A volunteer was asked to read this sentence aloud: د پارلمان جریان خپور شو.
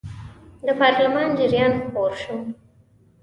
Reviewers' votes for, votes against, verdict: 2, 0, accepted